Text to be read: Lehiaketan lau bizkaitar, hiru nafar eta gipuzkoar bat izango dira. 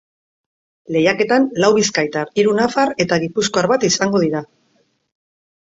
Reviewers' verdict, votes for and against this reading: accepted, 3, 0